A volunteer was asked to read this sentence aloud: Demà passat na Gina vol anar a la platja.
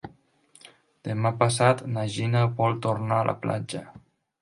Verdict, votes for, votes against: rejected, 0, 2